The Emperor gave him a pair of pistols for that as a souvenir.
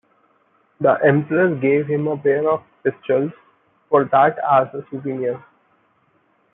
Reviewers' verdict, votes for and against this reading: accepted, 2, 1